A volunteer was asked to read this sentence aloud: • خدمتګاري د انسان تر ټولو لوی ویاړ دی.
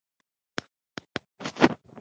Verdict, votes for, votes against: rejected, 0, 2